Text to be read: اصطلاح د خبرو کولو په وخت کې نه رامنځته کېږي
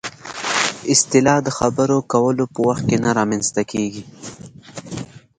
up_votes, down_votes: 2, 0